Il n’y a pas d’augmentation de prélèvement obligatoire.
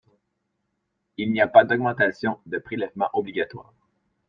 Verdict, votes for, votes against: accepted, 2, 0